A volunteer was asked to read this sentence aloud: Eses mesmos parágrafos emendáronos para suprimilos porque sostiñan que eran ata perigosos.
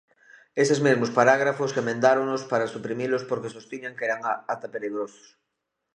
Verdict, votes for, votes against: rejected, 0, 2